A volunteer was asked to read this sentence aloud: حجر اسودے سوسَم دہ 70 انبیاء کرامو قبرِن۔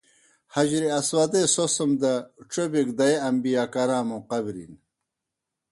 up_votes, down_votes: 0, 2